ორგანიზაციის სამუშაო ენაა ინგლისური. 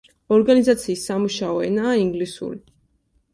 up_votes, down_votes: 2, 0